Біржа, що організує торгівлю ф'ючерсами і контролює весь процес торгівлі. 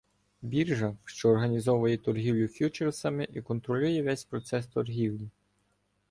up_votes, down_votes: 1, 2